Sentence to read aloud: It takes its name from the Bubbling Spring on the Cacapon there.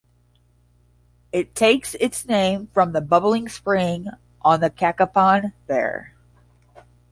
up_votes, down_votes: 5, 0